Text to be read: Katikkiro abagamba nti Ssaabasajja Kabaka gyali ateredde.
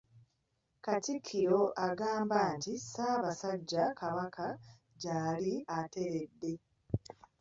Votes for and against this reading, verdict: 2, 1, accepted